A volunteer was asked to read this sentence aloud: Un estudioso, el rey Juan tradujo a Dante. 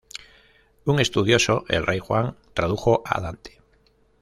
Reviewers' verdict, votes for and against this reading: rejected, 1, 2